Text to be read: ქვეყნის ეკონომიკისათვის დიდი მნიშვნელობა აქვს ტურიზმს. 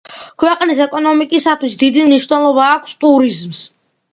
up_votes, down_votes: 2, 0